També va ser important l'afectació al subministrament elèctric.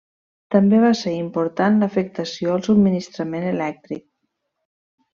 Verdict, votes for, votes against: accepted, 2, 0